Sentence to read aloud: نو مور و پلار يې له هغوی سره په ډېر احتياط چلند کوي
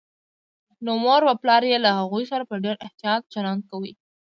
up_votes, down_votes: 1, 2